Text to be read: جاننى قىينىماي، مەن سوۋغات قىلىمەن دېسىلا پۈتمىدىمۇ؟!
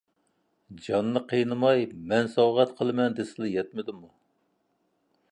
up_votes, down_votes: 1, 2